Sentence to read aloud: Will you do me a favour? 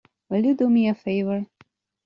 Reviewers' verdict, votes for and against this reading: accepted, 2, 0